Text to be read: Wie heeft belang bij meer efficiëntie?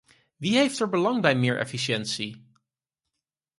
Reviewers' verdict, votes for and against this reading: rejected, 2, 4